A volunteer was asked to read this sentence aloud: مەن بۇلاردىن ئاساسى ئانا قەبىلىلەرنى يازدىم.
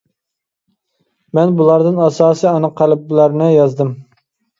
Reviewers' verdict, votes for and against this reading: rejected, 0, 2